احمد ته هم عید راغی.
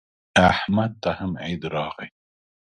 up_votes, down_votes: 2, 0